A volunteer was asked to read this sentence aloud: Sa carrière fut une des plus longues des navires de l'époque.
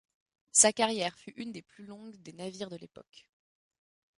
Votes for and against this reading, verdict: 2, 0, accepted